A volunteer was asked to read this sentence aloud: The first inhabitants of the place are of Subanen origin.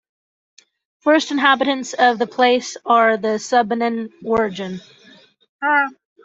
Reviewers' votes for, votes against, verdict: 0, 2, rejected